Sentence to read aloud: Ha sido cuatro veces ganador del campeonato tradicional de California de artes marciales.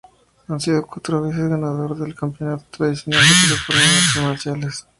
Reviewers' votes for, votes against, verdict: 0, 2, rejected